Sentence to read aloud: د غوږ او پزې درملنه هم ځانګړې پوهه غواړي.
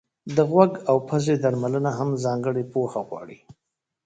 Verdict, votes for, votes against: rejected, 0, 2